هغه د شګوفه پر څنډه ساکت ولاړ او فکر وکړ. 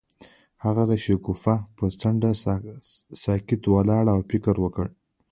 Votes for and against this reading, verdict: 1, 2, rejected